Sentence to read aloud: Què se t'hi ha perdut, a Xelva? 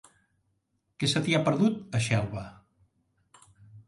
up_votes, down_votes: 3, 0